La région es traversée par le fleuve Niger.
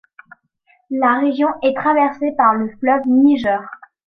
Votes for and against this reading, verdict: 1, 2, rejected